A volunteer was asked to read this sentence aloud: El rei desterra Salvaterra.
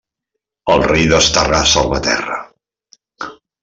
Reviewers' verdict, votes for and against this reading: rejected, 0, 2